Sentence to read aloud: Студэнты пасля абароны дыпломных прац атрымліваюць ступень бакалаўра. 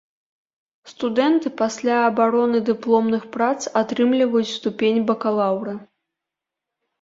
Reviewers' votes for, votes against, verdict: 0, 2, rejected